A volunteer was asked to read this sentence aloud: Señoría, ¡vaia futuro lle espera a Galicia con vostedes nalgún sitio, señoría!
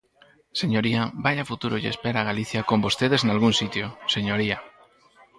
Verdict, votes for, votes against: rejected, 2, 4